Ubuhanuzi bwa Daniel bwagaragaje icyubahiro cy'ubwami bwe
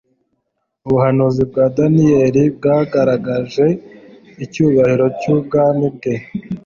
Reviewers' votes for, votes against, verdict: 2, 0, accepted